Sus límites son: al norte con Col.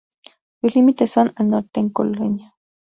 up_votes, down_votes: 0, 2